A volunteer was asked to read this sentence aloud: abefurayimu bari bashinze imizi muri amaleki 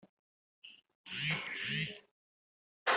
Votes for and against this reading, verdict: 0, 3, rejected